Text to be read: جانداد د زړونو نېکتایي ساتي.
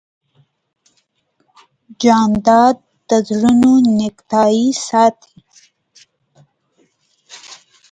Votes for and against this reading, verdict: 2, 0, accepted